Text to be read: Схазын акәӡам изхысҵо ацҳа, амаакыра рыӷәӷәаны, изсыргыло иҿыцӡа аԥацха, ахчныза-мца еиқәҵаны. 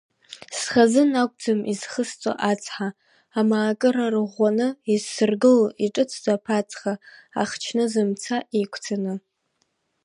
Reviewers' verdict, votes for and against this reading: accepted, 3, 2